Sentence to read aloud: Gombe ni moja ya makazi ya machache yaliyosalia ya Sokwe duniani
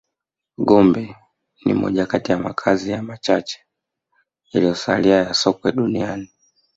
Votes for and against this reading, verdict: 0, 2, rejected